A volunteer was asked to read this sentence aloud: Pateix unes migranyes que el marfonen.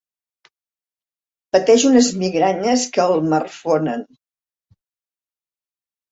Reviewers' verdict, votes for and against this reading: accepted, 4, 0